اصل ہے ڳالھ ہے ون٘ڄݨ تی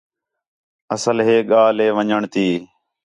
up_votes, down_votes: 4, 0